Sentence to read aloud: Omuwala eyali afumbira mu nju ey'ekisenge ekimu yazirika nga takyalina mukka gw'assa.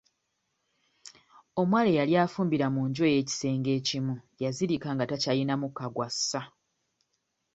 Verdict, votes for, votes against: accepted, 2, 0